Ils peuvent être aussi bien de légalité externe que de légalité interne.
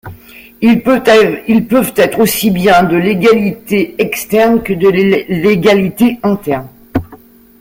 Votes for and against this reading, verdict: 0, 2, rejected